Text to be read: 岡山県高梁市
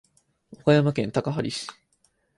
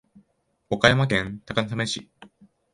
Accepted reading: second